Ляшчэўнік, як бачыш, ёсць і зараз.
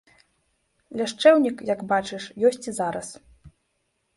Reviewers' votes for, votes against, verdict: 3, 0, accepted